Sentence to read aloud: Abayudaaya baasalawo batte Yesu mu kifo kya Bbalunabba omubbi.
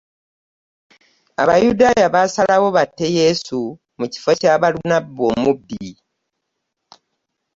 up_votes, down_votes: 2, 0